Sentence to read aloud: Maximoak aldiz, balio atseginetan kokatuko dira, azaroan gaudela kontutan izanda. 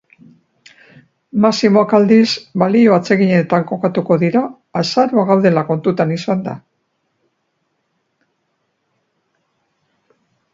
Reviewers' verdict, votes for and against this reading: rejected, 2, 3